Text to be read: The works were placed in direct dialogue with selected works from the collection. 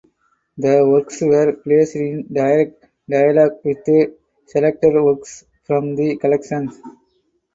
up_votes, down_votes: 2, 4